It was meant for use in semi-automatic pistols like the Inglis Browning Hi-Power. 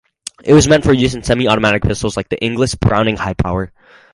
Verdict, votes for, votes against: accepted, 4, 0